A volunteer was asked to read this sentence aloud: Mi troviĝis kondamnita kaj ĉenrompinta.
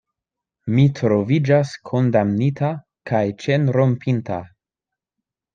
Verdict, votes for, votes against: rejected, 1, 2